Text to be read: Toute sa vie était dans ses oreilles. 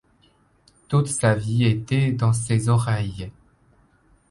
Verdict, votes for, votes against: accepted, 2, 0